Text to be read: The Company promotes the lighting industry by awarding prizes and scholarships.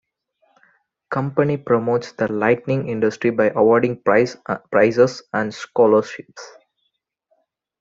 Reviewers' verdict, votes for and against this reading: accepted, 2, 1